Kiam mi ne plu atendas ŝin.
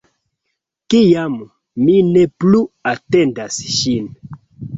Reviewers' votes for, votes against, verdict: 2, 0, accepted